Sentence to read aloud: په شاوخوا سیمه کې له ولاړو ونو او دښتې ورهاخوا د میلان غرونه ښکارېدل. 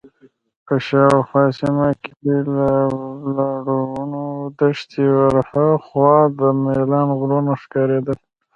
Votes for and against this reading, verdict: 0, 2, rejected